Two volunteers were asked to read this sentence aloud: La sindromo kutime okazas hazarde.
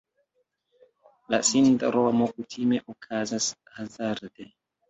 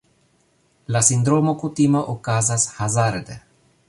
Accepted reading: second